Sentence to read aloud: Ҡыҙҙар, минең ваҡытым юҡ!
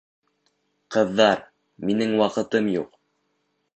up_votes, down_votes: 1, 2